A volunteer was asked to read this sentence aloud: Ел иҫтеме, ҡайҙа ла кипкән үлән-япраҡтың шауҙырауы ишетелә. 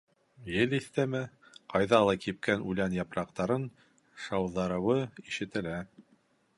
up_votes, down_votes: 0, 2